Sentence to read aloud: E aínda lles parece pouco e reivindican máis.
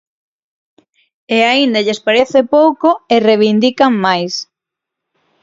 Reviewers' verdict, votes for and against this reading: accepted, 6, 0